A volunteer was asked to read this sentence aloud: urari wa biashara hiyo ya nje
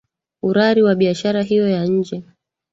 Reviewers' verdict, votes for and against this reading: accepted, 3, 0